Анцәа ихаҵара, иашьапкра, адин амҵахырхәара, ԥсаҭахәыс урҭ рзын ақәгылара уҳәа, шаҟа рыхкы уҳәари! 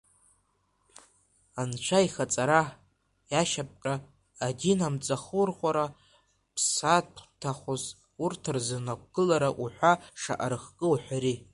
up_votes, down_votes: 1, 2